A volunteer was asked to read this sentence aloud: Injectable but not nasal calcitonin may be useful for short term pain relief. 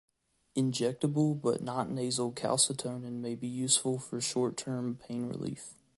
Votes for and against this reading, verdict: 2, 1, accepted